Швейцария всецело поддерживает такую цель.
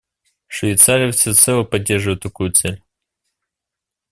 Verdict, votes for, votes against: accepted, 2, 0